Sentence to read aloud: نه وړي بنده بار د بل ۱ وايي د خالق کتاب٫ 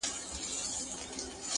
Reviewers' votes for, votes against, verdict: 0, 2, rejected